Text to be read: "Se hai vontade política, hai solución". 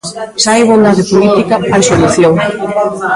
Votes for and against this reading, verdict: 0, 2, rejected